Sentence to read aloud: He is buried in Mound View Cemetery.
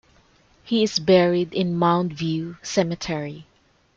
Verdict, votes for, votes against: accepted, 2, 0